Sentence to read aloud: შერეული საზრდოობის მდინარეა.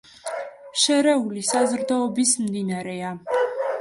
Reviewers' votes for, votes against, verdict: 2, 0, accepted